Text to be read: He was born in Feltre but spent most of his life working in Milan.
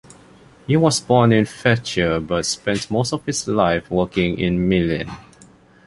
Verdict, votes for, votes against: rejected, 0, 2